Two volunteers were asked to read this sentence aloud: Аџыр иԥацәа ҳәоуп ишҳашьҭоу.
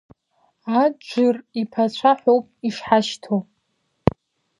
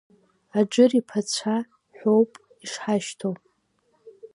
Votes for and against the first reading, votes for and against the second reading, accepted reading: 0, 2, 2, 1, second